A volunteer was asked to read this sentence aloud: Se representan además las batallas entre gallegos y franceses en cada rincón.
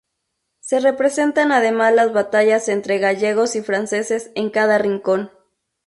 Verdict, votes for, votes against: accepted, 2, 0